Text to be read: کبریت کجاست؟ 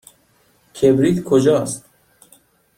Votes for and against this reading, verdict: 2, 0, accepted